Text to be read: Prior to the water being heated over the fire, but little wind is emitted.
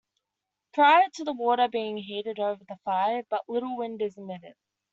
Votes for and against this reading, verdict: 2, 1, accepted